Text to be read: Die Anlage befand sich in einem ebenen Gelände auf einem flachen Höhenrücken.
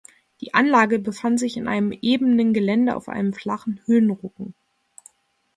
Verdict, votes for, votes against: rejected, 0, 2